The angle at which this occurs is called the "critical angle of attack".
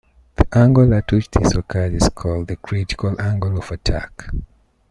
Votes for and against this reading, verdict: 1, 2, rejected